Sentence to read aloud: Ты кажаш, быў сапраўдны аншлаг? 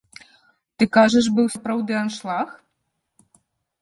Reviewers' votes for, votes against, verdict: 1, 3, rejected